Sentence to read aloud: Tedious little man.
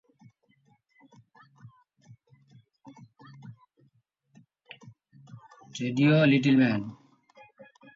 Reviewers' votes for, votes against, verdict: 0, 2, rejected